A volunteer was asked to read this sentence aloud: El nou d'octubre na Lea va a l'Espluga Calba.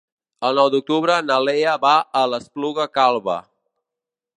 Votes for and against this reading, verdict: 3, 0, accepted